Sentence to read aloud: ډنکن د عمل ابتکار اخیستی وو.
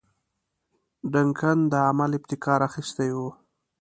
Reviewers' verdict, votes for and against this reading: accepted, 2, 0